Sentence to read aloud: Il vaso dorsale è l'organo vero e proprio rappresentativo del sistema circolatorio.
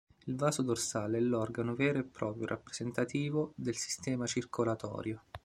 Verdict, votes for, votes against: accepted, 2, 0